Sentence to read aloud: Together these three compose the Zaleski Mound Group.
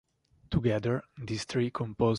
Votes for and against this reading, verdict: 0, 2, rejected